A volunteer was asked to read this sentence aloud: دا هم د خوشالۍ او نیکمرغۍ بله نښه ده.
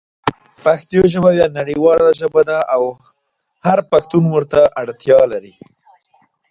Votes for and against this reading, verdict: 1, 2, rejected